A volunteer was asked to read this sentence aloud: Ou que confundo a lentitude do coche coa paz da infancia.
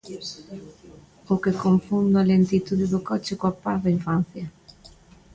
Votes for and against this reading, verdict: 0, 2, rejected